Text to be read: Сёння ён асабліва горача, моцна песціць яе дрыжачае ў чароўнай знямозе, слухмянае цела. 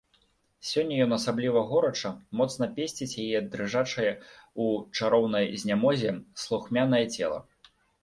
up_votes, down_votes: 2, 0